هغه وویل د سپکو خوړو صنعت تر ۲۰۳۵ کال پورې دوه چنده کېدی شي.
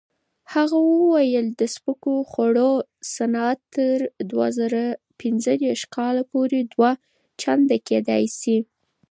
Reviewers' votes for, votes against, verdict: 0, 2, rejected